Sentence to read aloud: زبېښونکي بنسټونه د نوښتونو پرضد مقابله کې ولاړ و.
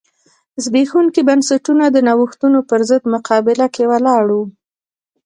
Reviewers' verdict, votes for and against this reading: accepted, 2, 0